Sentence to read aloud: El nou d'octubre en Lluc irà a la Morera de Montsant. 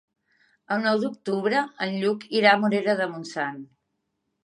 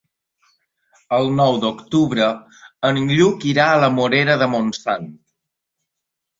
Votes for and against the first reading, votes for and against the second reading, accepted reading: 0, 2, 3, 0, second